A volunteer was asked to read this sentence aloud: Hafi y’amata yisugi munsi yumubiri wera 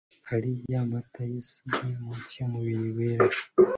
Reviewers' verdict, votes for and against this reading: rejected, 1, 2